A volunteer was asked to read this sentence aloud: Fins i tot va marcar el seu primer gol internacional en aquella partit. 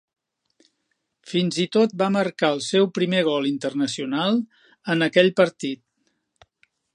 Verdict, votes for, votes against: rejected, 0, 4